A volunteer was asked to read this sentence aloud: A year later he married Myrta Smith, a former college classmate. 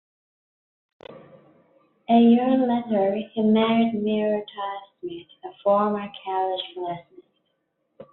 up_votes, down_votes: 0, 2